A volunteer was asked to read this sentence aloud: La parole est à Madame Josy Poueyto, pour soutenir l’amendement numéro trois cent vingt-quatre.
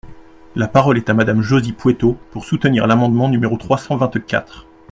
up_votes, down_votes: 2, 0